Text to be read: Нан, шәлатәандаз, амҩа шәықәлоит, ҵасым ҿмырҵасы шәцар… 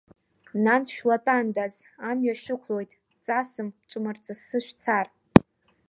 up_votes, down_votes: 1, 2